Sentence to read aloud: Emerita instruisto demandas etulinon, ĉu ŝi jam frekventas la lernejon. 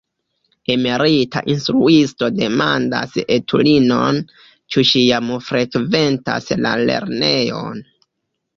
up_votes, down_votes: 1, 2